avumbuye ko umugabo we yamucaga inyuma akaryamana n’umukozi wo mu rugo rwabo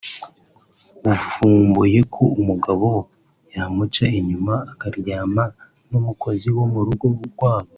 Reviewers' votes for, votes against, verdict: 0, 2, rejected